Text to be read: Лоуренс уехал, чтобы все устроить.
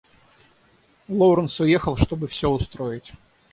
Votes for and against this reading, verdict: 0, 3, rejected